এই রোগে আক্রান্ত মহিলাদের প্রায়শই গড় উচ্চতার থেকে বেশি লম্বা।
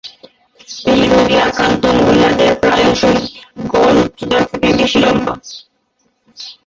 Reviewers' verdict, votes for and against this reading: rejected, 0, 4